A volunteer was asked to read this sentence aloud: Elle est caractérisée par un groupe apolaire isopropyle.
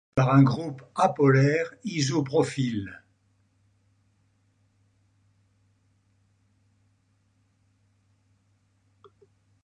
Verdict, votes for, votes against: rejected, 1, 2